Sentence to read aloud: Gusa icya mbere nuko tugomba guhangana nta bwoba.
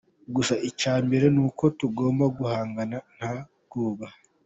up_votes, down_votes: 2, 0